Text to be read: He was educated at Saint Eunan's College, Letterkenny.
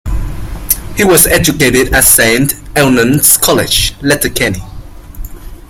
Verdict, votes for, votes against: accepted, 2, 1